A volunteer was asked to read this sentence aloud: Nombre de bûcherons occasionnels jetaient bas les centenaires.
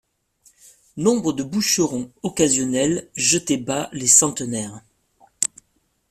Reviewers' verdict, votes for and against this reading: rejected, 0, 2